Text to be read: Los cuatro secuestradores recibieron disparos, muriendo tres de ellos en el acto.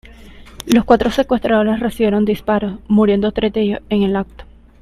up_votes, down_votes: 1, 2